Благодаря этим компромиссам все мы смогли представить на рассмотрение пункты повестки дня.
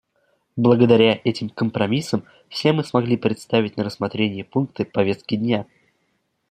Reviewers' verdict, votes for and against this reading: accepted, 2, 0